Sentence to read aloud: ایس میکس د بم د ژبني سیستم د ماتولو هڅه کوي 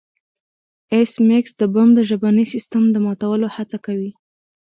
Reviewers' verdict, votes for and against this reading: accepted, 2, 0